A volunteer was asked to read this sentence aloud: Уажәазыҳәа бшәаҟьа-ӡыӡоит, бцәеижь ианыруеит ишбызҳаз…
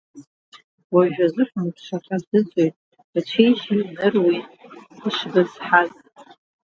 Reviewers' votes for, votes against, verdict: 1, 2, rejected